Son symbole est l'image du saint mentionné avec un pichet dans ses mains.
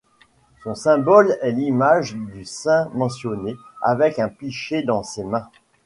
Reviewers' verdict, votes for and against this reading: accepted, 3, 0